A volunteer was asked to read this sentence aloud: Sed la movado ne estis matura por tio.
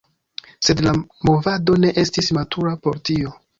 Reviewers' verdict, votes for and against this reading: accepted, 2, 1